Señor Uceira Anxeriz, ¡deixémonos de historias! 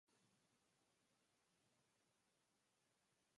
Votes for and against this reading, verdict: 0, 2, rejected